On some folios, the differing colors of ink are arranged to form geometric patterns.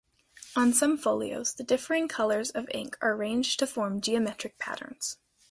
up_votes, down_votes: 2, 0